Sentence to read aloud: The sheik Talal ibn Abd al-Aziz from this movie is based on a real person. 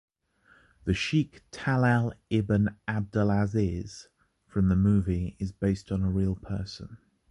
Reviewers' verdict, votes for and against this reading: rejected, 0, 2